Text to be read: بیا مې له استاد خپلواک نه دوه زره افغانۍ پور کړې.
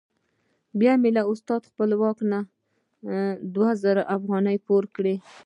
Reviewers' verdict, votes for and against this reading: accepted, 2, 0